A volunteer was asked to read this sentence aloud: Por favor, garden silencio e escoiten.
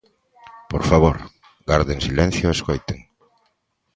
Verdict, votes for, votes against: accepted, 2, 0